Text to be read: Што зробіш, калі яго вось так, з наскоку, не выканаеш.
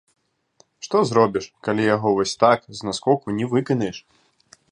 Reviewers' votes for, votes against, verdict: 1, 2, rejected